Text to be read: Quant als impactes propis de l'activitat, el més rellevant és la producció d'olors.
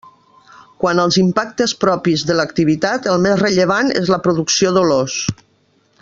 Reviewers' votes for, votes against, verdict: 2, 0, accepted